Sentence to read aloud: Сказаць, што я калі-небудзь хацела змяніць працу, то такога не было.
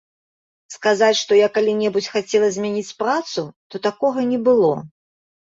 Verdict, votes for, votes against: accepted, 3, 0